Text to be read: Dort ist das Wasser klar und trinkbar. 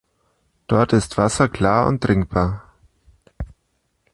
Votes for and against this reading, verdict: 0, 2, rejected